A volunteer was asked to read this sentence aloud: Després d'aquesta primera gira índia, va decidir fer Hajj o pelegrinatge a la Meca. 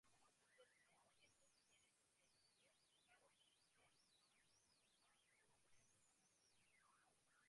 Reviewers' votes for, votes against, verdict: 1, 2, rejected